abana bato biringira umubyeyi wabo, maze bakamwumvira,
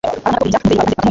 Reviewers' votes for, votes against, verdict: 3, 1, accepted